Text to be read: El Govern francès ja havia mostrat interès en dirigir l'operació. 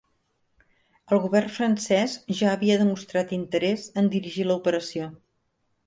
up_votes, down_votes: 0, 2